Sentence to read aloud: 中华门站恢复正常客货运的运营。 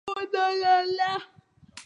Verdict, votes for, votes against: rejected, 0, 3